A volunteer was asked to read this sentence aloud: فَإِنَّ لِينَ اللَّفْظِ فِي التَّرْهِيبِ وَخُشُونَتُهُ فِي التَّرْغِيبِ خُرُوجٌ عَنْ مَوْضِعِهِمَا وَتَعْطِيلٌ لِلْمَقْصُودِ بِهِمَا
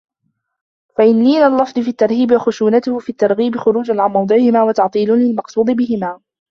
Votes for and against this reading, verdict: 2, 0, accepted